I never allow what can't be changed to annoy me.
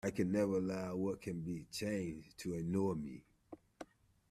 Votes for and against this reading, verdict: 0, 2, rejected